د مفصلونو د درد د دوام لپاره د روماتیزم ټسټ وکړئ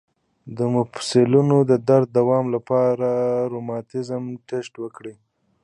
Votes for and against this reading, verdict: 2, 0, accepted